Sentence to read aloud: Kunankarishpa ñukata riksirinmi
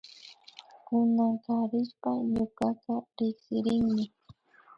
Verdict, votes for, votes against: rejected, 0, 2